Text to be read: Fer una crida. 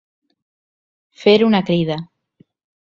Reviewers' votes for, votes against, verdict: 2, 0, accepted